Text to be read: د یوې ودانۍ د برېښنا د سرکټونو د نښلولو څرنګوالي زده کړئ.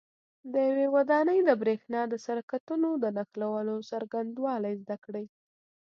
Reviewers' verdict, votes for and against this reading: accepted, 2, 0